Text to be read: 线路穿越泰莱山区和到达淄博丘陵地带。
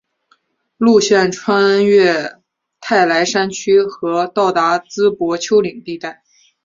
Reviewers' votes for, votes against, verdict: 3, 0, accepted